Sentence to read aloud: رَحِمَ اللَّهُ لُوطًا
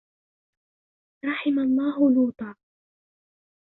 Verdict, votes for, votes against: rejected, 0, 2